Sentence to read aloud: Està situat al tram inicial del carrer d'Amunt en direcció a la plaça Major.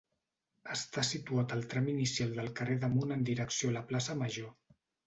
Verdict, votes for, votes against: accepted, 2, 0